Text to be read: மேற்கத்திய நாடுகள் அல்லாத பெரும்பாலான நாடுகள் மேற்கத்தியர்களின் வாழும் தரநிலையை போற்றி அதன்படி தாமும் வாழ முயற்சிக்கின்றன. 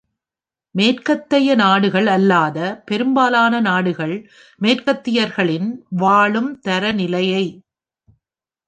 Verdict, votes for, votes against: rejected, 0, 2